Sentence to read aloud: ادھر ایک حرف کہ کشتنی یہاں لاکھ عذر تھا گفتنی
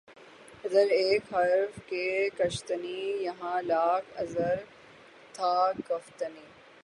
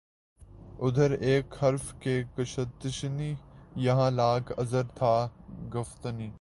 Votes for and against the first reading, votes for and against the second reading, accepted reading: 12, 9, 1, 3, first